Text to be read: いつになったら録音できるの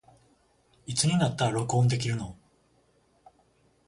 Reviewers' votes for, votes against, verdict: 21, 0, accepted